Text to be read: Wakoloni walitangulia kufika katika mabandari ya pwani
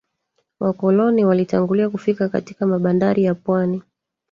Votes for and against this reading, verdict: 1, 2, rejected